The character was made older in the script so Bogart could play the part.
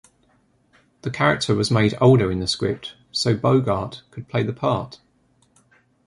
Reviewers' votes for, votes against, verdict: 2, 0, accepted